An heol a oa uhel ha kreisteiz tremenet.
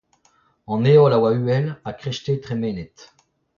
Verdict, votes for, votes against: rejected, 1, 2